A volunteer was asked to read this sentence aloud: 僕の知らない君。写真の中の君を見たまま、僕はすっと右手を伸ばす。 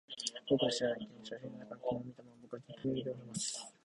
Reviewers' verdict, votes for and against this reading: rejected, 1, 2